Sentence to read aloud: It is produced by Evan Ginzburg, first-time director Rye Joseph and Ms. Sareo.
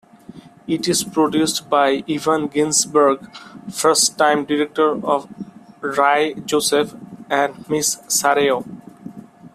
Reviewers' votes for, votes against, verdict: 2, 1, accepted